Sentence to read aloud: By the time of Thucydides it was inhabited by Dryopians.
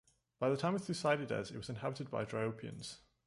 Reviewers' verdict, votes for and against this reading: accepted, 2, 0